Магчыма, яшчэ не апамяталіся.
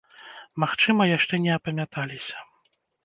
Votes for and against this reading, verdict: 1, 2, rejected